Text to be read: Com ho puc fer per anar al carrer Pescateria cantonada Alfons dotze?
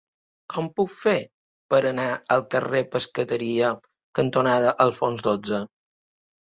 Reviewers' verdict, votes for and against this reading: rejected, 1, 2